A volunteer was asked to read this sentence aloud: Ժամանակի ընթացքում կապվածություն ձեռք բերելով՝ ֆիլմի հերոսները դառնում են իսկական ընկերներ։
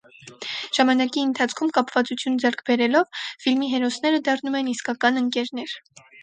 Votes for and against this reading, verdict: 4, 0, accepted